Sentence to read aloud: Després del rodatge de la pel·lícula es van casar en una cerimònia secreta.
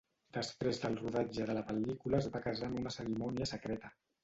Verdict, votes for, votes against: rejected, 1, 3